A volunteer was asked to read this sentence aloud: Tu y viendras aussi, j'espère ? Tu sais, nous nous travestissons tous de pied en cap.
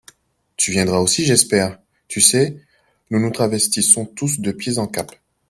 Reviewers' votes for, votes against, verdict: 0, 2, rejected